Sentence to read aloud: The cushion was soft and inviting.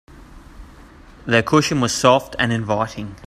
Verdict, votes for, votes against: accepted, 3, 0